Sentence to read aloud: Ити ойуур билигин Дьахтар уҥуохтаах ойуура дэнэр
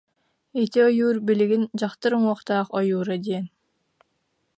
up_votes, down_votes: 0, 2